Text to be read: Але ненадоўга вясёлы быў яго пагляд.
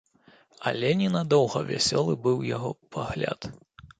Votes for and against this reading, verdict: 2, 0, accepted